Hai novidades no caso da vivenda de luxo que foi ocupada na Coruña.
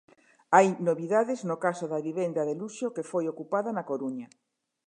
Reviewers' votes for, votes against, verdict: 2, 0, accepted